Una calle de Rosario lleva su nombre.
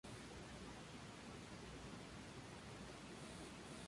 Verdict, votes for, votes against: rejected, 0, 2